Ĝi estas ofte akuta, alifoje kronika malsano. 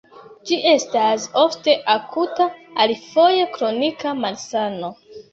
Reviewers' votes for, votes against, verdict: 2, 0, accepted